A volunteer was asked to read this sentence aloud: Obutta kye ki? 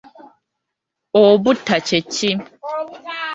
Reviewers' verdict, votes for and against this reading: rejected, 0, 2